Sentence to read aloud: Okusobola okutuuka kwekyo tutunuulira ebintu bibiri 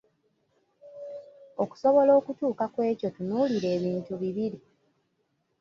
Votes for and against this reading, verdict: 0, 2, rejected